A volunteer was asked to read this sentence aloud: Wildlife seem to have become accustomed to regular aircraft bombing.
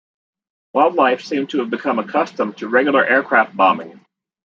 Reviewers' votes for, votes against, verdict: 1, 2, rejected